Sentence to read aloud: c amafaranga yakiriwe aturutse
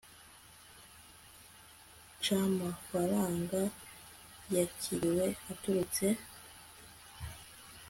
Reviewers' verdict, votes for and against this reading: accepted, 2, 0